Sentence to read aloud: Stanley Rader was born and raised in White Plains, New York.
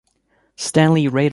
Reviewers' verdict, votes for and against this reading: rejected, 0, 2